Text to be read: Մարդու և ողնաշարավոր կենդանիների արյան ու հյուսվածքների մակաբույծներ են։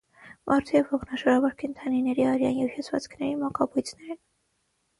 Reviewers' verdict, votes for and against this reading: rejected, 3, 3